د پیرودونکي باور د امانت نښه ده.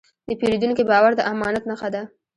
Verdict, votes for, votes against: accepted, 2, 0